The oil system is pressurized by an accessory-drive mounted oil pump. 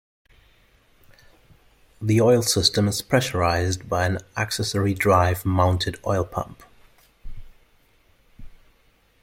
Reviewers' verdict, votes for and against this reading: accepted, 2, 0